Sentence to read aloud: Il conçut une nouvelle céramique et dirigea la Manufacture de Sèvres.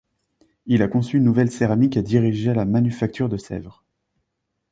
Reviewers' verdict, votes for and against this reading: rejected, 0, 2